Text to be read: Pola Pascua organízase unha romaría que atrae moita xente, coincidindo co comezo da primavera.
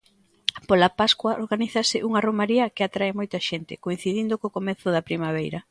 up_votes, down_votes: 0, 2